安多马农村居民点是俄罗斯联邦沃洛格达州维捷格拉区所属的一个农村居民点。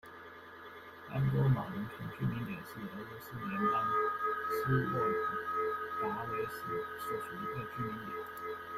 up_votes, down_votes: 0, 2